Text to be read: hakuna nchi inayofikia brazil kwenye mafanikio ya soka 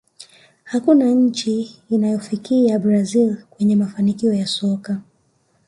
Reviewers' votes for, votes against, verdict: 0, 2, rejected